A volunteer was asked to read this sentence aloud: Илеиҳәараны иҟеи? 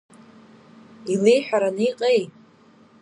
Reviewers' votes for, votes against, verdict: 2, 0, accepted